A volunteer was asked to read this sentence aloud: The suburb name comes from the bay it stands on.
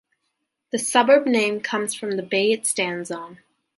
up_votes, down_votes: 2, 0